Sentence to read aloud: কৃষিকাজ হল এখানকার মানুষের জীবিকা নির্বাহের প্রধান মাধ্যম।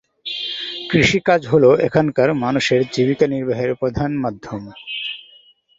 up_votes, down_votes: 2, 0